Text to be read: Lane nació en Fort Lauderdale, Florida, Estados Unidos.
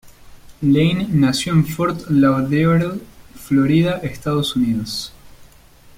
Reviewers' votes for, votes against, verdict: 0, 2, rejected